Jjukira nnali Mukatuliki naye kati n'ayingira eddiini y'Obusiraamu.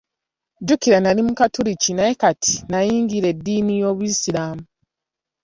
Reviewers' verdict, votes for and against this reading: accepted, 3, 1